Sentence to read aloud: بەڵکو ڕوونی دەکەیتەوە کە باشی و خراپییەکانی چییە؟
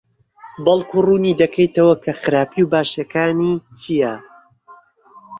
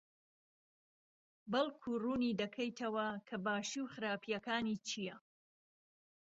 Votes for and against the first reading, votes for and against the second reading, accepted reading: 1, 2, 2, 0, second